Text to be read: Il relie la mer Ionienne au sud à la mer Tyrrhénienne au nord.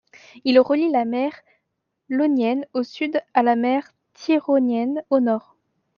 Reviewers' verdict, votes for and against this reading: rejected, 0, 2